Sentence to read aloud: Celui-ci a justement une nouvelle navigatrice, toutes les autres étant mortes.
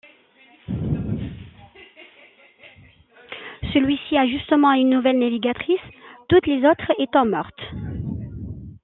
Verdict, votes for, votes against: accepted, 2, 0